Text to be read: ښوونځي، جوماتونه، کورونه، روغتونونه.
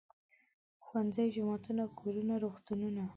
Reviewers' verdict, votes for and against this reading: accepted, 2, 0